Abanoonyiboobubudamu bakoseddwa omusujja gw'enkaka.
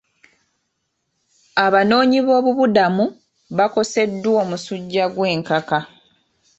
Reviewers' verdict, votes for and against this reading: rejected, 0, 2